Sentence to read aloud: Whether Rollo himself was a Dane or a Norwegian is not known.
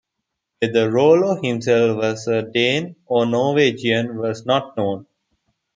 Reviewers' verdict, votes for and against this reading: accepted, 2, 0